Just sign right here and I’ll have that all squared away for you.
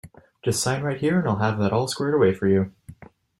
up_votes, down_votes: 2, 1